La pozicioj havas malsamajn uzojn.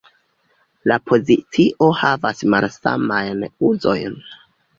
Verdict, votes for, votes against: rejected, 0, 2